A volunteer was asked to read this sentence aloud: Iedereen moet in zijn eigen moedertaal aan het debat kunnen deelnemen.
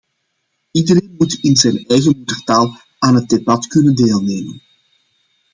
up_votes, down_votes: 1, 2